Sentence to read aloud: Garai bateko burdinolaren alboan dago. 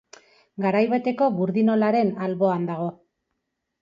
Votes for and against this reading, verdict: 2, 0, accepted